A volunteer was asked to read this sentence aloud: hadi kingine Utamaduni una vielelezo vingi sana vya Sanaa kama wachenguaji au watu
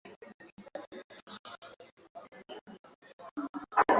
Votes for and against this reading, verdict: 0, 2, rejected